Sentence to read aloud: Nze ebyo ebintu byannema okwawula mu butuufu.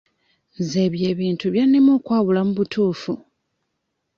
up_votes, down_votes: 2, 0